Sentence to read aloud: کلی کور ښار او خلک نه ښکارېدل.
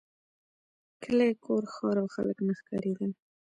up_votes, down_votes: 2, 0